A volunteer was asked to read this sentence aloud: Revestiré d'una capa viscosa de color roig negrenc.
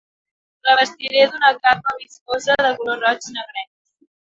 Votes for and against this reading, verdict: 3, 4, rejected